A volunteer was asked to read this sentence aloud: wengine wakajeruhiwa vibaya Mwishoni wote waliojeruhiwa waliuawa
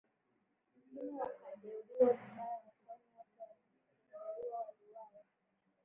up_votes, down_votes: 0, 2